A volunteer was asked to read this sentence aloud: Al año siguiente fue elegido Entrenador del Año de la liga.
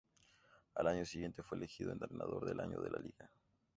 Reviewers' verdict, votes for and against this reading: accepted, 2, 0